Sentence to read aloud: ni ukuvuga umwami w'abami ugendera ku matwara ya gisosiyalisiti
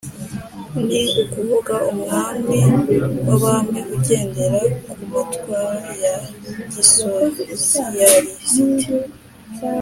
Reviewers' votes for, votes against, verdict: 2, 1, accepted